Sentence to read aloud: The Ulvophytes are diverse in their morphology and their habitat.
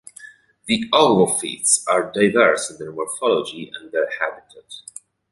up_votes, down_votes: 2, 0